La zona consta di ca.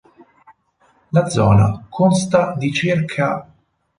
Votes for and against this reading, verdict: 6, 2, accepted